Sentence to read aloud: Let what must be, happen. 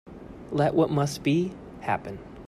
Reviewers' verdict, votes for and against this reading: accepted, 2, 0